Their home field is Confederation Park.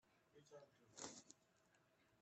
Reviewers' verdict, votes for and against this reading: rejected, 0, 2